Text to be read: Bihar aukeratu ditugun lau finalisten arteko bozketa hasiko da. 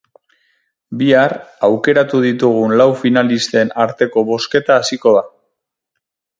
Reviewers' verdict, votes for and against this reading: accepted, 6, 0